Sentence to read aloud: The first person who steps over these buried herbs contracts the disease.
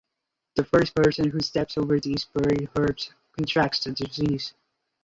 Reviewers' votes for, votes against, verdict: 2, 0, accepted